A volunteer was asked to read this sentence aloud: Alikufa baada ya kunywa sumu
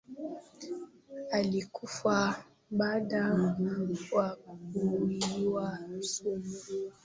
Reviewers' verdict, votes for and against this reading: rejected, 0, 2